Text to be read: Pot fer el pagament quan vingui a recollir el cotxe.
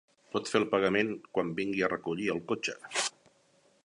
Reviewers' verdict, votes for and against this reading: rejected, 1, 2